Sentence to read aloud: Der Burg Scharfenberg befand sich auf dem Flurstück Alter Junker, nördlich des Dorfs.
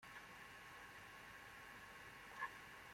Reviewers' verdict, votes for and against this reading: rejected, 0, 2